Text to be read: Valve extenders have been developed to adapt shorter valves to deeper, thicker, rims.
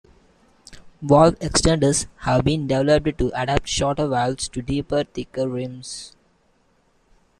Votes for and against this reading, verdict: 1, 2, rejected